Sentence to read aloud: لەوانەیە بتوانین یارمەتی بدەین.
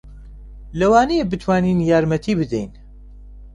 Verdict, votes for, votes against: accepted, 2, 0